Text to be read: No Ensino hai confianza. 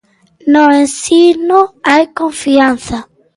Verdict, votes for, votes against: accepted, 2, 0